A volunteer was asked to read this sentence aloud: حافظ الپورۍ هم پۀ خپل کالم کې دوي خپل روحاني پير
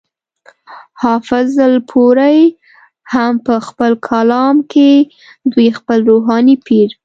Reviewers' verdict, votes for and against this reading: accepted, 2, 0